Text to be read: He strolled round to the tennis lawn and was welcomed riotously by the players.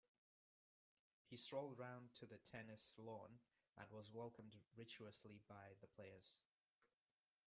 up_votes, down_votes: 0, 2